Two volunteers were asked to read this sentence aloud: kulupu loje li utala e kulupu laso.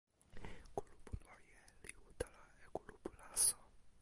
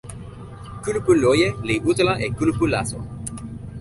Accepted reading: second